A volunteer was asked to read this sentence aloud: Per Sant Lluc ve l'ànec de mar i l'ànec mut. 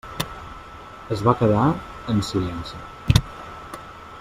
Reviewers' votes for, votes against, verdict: 0, 2, rejected